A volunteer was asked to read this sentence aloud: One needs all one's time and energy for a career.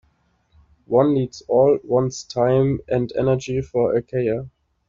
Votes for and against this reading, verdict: 2, 1, accepted